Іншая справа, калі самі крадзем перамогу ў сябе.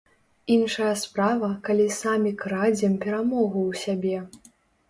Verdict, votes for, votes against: rejected, 1, 2